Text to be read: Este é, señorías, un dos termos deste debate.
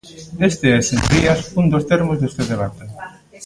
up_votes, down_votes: 1, 2